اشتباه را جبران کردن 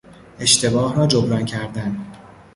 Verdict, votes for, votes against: rejected, 0, 2